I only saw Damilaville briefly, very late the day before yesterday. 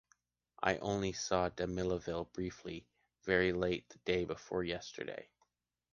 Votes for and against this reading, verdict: 2, 0, accepted